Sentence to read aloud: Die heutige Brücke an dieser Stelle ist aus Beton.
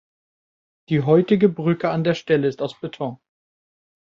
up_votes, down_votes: 0, 2